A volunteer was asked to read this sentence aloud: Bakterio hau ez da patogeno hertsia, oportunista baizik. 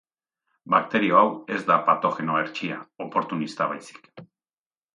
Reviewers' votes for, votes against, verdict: 2, 0, accepted